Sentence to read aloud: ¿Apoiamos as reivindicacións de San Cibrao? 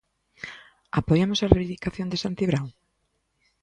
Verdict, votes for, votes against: rejected, 0, 2